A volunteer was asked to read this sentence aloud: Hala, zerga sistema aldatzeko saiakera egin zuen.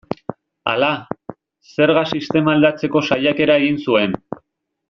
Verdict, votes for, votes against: rejected, 1, 2